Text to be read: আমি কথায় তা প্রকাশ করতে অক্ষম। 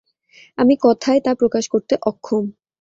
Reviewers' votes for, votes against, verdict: 2, 0, accepted